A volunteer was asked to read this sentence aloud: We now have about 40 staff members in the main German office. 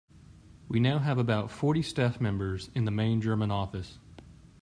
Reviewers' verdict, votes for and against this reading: rejected, 0, 2